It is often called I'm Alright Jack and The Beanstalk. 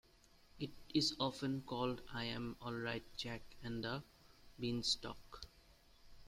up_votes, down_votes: 2, 0